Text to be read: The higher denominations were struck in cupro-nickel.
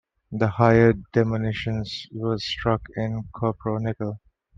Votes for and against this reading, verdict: 2, 1, accepted